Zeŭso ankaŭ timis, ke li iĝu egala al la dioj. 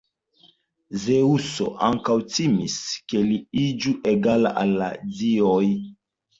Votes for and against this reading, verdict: 2, 0, accepted